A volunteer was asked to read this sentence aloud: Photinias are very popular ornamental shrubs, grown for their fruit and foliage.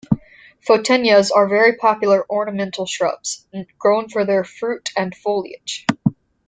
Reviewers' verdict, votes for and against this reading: accepted, 2, 0